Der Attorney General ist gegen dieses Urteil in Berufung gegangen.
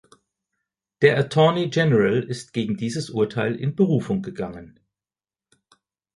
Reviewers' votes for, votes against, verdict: 1, 2, rejected